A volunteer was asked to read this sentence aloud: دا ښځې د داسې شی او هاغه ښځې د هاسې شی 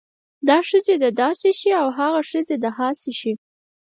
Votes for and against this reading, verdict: 4, 0, accepted